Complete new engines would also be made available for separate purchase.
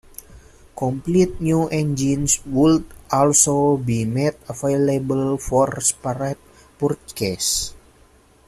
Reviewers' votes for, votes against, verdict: 0, 2, rejected